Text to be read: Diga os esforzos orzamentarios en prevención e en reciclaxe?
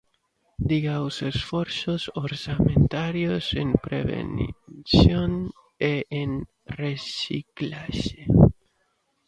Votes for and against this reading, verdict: 0, 2, rejected